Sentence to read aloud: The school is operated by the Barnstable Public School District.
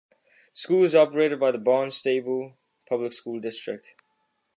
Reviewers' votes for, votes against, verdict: 2, 1, accepted